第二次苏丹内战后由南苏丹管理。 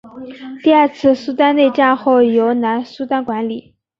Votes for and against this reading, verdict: 3, 0, accepted